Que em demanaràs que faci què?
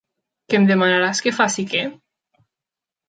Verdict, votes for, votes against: accepted, 3, 1